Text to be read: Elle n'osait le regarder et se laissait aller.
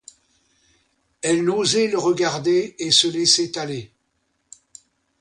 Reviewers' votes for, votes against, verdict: 2, 0, accepted